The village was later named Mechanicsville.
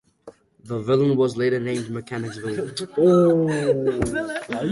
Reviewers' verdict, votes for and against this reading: rejected, 0, 2